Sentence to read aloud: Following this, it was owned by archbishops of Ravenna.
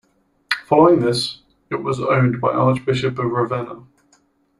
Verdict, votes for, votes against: rejected, 1, 3